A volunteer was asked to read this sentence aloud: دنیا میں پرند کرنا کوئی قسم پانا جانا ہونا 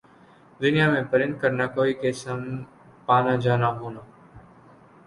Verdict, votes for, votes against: rejected, 1, 2